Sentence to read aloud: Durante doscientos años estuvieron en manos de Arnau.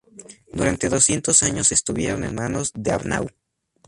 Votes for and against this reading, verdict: 2, 0, accepted